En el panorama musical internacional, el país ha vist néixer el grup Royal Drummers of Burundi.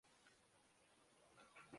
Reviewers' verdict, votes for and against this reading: rejected, 0, 2